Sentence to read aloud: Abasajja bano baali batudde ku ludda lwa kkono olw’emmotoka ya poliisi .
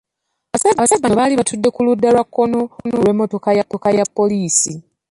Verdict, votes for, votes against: rejected, 0, 2